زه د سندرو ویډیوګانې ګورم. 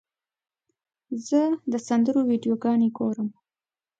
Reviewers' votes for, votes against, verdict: 2, 0, accepted